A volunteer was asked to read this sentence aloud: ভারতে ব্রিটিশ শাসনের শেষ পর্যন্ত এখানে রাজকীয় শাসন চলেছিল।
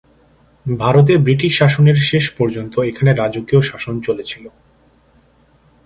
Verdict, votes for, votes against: accepted, 2, 0